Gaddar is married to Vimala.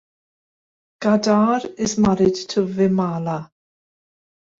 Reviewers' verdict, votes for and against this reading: rejected, 0, 2